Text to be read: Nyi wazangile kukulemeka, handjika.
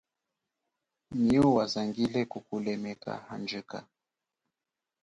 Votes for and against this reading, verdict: 3, 4, rejected